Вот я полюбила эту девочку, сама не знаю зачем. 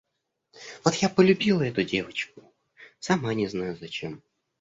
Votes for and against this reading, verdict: 2, 1, accepted